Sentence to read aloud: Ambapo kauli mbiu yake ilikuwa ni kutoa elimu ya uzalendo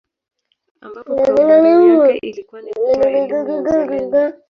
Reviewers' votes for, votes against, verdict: 0, 3, rejected